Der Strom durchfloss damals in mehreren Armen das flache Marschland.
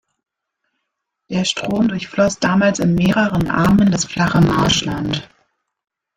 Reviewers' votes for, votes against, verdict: 1, 2, rejected